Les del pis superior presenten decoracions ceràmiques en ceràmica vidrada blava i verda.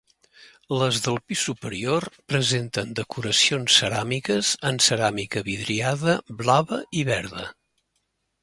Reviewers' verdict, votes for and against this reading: rejected, 0, 2